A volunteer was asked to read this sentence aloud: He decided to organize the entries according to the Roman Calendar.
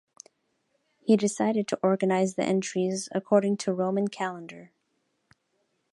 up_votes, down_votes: 0, 2